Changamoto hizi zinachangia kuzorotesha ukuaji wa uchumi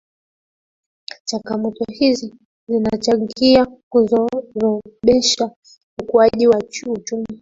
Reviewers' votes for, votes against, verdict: 0, 2, rejected